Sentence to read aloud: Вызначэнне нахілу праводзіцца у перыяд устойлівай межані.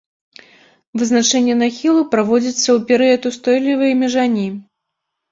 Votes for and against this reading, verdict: 0, 2, rejected